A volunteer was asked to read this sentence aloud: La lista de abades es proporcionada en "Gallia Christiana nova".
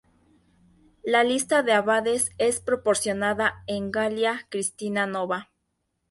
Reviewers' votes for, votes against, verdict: 2, 0, accepted